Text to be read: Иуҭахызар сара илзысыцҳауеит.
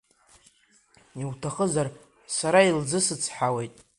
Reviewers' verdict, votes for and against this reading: rejected, 0, 2